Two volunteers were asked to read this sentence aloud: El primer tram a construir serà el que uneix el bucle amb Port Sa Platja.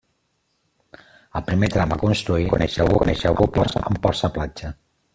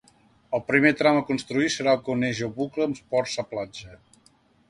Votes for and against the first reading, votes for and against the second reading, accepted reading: 0, 2, 2, 0, second